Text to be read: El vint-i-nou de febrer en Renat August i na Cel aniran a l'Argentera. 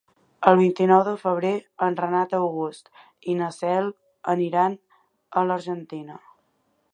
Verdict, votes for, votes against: rejected, 1, 3